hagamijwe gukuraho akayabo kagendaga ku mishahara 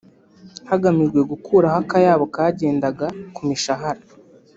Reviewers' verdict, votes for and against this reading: accepted, 2, 0